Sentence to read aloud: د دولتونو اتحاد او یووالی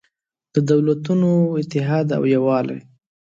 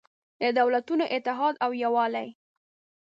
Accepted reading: first